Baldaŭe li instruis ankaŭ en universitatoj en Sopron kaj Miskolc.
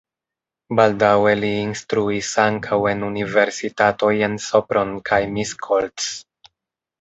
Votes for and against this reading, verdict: 2, 1, accepted